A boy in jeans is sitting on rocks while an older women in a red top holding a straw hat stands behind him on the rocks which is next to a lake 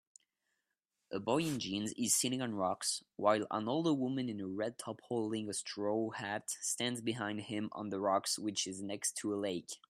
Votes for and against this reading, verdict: 2, 1, accepted